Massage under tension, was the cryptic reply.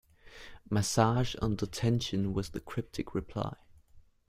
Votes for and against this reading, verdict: 2, 0, accepted